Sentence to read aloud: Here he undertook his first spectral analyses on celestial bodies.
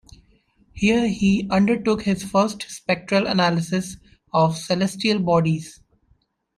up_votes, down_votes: 1, 2